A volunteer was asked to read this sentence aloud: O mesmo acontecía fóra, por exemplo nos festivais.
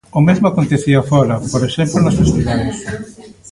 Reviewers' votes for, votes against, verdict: 1, 2, rejected